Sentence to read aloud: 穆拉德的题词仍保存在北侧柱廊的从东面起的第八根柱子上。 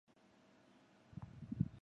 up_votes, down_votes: 0, 3